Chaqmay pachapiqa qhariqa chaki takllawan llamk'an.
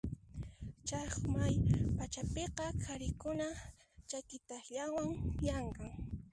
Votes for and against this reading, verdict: 0, 2, rejected